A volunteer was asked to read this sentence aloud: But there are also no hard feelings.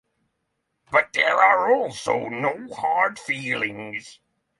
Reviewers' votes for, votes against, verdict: 0, 3, rejected